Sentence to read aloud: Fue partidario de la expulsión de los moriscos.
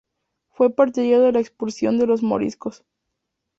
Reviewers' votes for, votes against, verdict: 0, 2, rejected